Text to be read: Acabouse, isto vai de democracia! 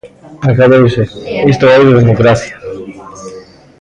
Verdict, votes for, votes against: rejected, 1, 2